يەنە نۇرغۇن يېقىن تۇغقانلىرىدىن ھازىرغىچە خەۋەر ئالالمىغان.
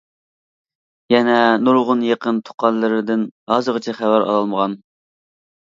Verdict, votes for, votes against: accepted, 2, 0